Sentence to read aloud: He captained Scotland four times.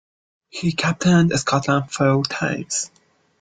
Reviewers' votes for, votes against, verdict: 1, 2, rejected